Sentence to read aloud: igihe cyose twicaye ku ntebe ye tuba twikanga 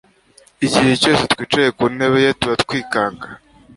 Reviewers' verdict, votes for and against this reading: accepted, 2, 0